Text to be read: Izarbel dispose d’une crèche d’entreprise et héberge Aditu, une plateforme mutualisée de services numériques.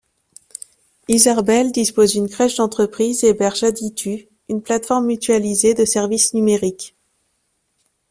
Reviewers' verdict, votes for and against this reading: accepted, 2, 0